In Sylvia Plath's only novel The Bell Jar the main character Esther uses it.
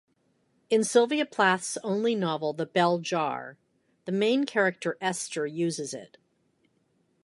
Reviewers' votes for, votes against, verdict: 2, 0, accepted